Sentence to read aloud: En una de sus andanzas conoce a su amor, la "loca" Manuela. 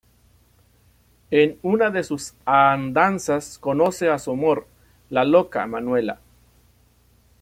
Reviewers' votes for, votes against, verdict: 0, 2, rejected